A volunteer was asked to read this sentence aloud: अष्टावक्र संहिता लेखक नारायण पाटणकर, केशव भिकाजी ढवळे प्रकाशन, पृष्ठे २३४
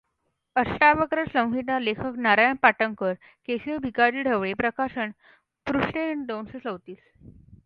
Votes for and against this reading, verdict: 0, 2, rejected